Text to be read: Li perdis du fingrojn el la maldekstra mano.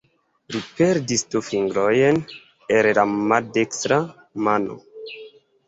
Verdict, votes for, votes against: rejected, 0, 2